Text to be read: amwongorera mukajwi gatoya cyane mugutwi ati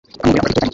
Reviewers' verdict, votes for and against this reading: rejected, 1, 2